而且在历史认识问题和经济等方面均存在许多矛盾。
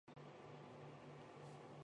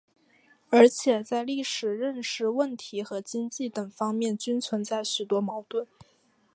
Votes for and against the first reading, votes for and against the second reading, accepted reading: 0, 3, 2, 0, second